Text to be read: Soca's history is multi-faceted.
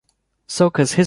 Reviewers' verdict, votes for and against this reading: rejected, 0, 2